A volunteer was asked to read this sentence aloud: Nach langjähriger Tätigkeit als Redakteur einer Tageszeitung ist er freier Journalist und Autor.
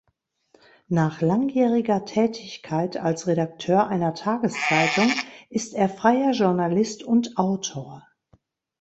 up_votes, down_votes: 2, 0